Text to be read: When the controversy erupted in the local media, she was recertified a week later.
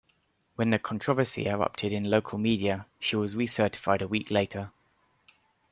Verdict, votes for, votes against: rejected, 1, 2